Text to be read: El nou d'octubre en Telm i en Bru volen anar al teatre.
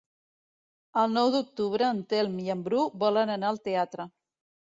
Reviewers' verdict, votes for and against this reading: accepted, 2, 0